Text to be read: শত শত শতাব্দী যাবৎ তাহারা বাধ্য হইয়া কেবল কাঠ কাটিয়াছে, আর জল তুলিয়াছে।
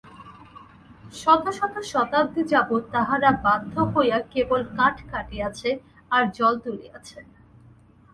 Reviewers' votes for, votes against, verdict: 4, 0, accepted